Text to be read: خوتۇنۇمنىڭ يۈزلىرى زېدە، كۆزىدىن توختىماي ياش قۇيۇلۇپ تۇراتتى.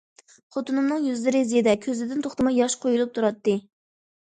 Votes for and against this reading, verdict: 2, 0, accepted